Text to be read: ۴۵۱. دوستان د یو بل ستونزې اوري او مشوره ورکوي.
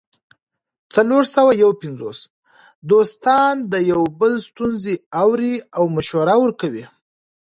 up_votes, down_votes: 0, 2